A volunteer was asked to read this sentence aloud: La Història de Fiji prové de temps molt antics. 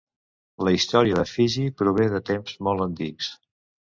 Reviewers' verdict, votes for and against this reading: accepted, 2, 0